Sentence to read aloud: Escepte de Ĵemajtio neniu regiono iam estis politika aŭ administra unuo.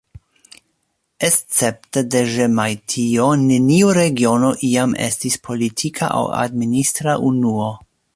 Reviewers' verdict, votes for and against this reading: accepted, 2, 0